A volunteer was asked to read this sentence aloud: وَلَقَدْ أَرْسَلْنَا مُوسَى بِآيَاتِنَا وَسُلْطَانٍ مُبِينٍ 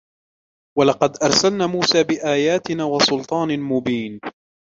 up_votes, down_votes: 1, 2